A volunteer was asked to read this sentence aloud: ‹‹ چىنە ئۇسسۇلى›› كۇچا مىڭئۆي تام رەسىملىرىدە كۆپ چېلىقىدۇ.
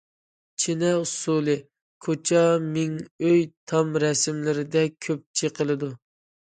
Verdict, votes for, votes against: rejected, 0, 2